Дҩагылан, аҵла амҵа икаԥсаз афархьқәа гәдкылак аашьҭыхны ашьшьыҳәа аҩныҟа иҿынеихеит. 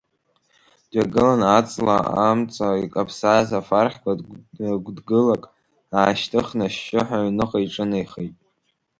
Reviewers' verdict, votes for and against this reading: rejected, 1, 3